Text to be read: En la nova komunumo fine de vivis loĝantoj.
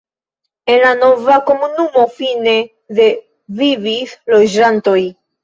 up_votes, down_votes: 2, 0